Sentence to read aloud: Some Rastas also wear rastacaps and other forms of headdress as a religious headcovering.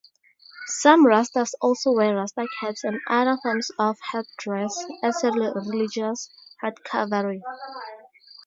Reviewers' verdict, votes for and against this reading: rejected, 2, 2